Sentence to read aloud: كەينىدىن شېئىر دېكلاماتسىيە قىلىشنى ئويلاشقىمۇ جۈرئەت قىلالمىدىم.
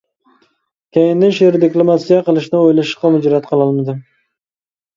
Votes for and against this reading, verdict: 0, 2, rejected